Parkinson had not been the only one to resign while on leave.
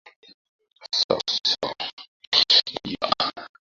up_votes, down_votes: 0, 2